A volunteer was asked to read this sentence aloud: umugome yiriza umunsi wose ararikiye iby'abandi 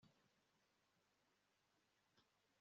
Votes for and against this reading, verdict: 1, 2, rejected